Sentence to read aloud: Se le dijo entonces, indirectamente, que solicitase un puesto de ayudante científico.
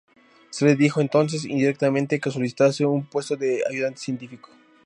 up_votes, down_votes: 2, 0